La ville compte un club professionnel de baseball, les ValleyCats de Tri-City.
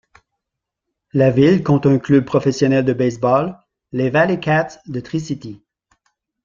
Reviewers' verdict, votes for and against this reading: rejected, 0, 2